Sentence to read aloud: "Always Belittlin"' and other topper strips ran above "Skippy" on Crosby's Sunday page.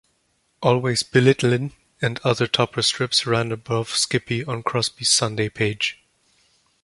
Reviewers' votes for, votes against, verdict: 2, 0, accepted